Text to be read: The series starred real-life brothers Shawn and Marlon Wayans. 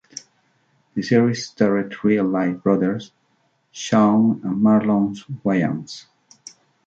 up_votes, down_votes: 2, 0